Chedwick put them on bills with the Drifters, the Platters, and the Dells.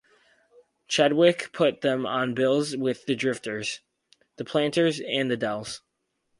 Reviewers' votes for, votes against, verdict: 0, 2, rejected